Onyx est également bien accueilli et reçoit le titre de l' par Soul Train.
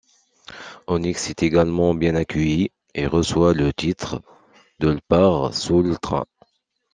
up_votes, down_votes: 2, 0